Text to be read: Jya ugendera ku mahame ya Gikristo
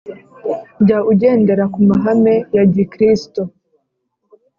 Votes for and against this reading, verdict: 3, 0, accepted